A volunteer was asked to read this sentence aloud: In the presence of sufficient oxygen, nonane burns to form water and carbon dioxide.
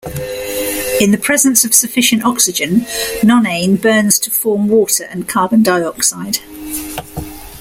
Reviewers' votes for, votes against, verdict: 2, 0, accepted